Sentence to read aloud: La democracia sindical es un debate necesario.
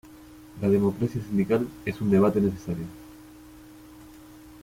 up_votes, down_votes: 1, 2